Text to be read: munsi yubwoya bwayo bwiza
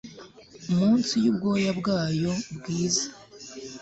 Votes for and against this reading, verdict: 1, 2, rejected